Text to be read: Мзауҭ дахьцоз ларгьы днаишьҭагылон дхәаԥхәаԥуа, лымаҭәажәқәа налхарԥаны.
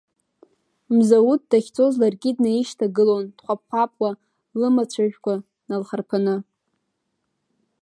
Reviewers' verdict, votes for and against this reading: rejected, 1, 2